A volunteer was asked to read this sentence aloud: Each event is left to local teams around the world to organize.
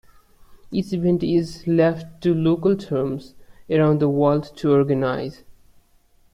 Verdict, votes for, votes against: rejected, 0, 2